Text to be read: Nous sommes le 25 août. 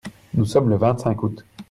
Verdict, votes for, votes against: rejected, 0, 2